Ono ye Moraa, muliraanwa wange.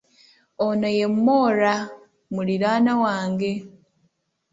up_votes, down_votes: 2, 0